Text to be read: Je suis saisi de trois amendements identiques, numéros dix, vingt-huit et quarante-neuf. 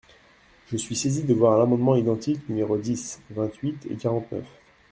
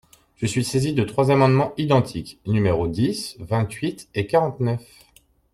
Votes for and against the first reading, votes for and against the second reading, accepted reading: 0, 2, 2, 0, second